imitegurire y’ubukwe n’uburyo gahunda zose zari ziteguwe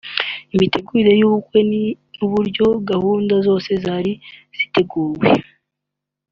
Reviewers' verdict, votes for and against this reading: rejected, 0, 2